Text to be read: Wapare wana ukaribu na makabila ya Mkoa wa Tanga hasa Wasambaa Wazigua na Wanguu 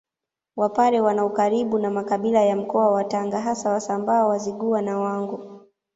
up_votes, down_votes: 1, 2